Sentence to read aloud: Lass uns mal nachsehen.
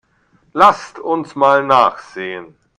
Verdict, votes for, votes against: rejected, 0, 2